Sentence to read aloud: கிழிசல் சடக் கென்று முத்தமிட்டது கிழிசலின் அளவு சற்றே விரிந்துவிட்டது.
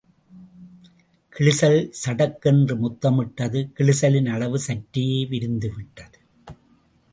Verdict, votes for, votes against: rejected, 0, 2